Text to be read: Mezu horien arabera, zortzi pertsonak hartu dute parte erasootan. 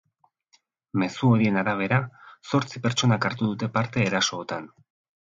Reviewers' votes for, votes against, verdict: 5, 0, accepted